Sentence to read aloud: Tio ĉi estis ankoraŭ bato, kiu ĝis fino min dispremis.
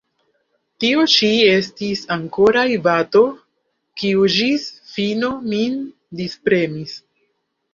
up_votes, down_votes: 0, 2